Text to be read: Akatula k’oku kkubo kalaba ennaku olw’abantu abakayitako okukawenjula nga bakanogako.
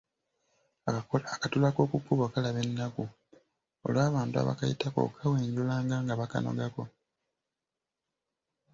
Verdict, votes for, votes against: rejected, 1, 2